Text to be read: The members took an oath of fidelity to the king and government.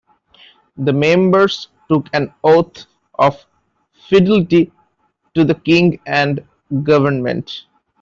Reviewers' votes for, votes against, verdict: 0, 2, rejected